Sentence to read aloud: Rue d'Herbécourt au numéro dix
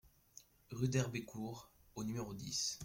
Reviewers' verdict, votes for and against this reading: accepted, 2, 0